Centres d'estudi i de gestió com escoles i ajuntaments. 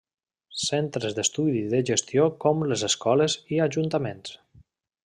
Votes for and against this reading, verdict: 0, 2, rejected